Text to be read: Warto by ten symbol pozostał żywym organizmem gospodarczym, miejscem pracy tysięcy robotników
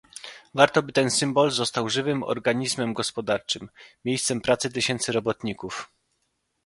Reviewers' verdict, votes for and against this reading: rejected, 1, 2